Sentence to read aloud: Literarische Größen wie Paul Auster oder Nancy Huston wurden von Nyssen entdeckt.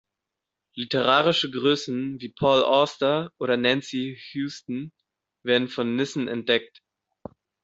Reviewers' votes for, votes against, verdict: 0, 2, rejected